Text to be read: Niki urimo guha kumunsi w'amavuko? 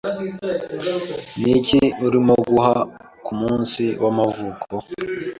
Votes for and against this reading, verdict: 2, 0, accepted